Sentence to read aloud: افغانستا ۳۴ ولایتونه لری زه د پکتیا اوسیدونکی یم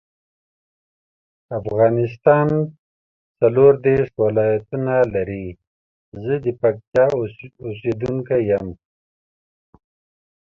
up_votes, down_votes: 0, 2